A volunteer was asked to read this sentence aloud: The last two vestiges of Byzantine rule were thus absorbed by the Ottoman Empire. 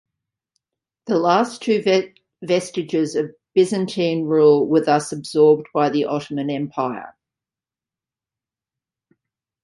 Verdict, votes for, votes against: rejected, 0, 2